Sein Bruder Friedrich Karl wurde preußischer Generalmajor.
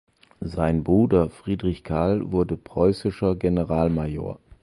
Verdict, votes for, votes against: accepted, 2, 0